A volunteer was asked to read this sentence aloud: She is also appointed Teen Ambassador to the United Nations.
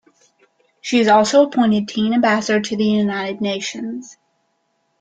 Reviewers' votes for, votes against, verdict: 2, 1, accepted